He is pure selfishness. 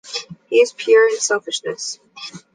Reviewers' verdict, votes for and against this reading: accepted, 2, 1